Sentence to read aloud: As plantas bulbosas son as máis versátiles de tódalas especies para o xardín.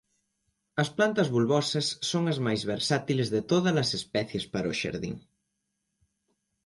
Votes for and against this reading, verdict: 2, 0, accepted